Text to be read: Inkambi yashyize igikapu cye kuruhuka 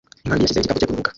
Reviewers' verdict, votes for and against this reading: rejected, 0, 2